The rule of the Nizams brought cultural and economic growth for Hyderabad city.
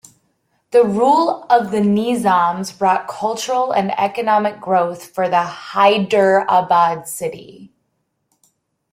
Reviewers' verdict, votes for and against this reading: rejected, 1, 2